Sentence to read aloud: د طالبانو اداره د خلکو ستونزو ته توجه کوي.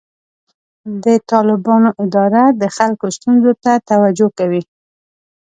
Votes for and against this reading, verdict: 2, 0, accepted